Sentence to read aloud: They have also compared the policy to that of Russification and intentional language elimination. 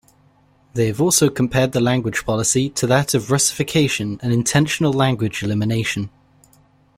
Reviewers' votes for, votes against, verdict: 0, 2, rejected